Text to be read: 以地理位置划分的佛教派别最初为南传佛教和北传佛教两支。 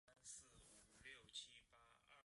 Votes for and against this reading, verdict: 0, 2, rejected